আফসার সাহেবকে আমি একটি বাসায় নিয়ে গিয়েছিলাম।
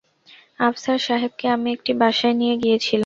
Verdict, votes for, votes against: rejected, 0, 2